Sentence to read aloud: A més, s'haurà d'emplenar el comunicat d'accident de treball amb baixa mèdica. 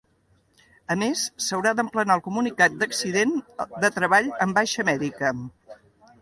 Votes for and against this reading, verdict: 2, 0, accepted